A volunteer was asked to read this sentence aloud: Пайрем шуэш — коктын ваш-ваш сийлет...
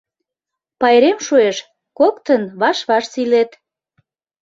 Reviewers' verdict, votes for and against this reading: accepted, 2, 0